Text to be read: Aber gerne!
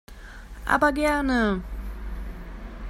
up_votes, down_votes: 2, 0